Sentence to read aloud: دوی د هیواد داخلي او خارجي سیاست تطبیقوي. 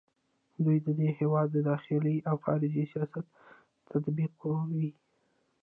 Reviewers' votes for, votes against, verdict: 1, 2, rejected